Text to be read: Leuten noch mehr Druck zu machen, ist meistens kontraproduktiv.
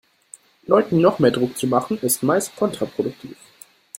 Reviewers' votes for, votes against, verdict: 0, 2, rejected